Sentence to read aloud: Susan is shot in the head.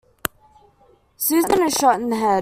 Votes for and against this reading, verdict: 2, 1, accepted